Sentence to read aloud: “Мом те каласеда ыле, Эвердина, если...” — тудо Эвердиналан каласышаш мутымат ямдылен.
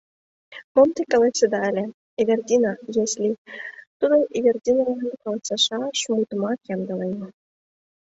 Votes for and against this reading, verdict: 1, 2, rejected